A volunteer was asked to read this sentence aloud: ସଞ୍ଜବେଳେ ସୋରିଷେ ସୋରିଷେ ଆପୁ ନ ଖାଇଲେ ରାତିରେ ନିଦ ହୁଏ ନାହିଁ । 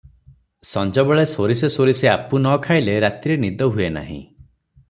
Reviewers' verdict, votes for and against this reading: accepted, 3, 0